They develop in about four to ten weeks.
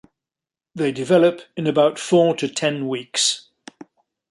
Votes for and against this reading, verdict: 3, 0, accepted